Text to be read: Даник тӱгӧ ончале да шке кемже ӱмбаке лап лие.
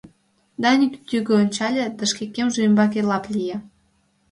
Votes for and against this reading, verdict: 2, 0, accepted